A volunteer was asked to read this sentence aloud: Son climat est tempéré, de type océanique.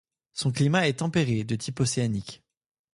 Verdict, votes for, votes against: accepted, 2, 0